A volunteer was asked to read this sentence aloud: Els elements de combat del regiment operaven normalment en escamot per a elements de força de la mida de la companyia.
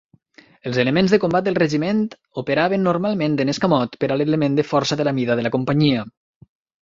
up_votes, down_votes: 2, 3